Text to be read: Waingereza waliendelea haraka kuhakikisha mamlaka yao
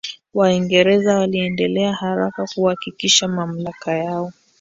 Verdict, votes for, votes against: accepted, 2, 1